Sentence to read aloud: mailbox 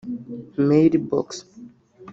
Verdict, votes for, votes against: accepted, 2, 0